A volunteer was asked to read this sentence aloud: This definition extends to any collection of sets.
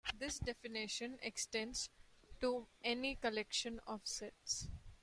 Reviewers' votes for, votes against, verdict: 2, 1, accepted